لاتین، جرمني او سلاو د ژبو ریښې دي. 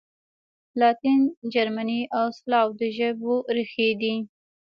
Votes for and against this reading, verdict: 0, 2, rejected